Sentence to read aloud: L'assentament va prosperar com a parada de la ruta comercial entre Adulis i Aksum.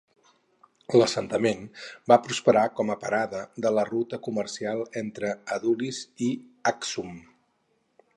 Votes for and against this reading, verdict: 4, 0, accepted